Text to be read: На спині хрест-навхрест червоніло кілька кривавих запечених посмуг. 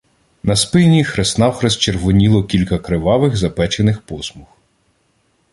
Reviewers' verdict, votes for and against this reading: accepted, 2, 0